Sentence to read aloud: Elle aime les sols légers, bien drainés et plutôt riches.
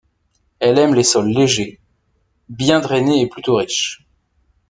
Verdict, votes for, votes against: accepted, 2, 0